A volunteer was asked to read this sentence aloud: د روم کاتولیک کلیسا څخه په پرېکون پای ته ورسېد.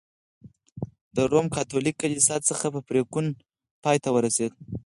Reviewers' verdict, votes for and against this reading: rejected, 2, 4